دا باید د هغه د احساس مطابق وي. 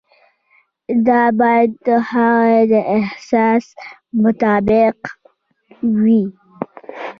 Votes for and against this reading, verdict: 1, 2, rejected